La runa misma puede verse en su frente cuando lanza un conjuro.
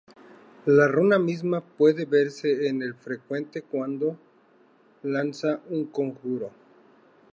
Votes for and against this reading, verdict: 0, 2, rejected